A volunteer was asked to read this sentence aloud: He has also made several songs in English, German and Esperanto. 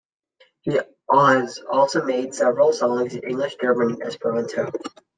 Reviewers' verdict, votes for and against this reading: rejected, 0, 2